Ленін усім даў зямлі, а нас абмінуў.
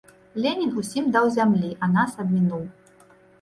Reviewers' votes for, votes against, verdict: 2, 0, accepted